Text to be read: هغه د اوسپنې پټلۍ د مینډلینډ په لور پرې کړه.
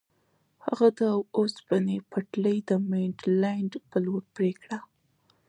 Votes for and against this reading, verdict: 2, 0, accepted